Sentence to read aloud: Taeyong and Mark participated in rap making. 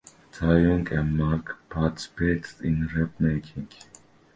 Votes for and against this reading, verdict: 0, 2, rejected